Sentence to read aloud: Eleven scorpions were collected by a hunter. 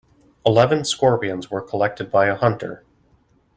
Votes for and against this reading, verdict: 2, 0, accepted